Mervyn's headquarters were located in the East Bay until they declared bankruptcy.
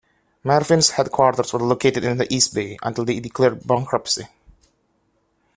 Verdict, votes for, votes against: accepted, 2, 0